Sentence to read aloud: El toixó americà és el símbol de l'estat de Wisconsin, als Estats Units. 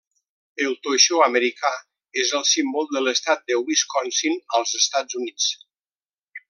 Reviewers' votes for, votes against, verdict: 2, 1, accepted